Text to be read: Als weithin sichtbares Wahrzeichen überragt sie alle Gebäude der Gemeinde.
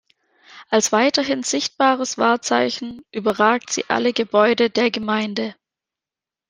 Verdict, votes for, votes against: rejected, 1, 2